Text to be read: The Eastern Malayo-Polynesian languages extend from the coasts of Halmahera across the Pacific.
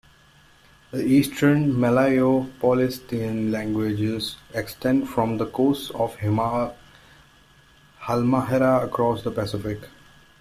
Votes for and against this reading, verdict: 0, 2, rejected